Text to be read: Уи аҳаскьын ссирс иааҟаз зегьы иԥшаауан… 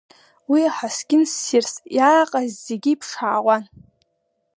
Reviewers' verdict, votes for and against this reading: accepted, 2, 0